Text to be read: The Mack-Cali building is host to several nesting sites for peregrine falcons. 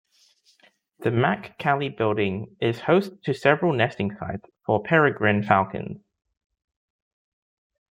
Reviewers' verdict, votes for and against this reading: rejected, 1, 2